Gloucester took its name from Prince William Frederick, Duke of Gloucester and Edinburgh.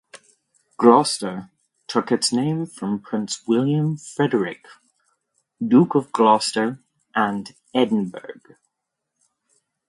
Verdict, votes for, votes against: rejected, 0, 2